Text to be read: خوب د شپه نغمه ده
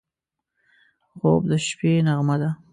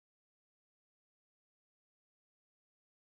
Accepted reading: first